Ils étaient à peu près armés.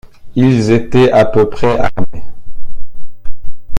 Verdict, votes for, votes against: rejected, 1, 2